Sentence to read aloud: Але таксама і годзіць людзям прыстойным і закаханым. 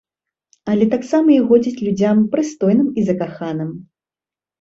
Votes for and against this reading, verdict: 2, 0, accepted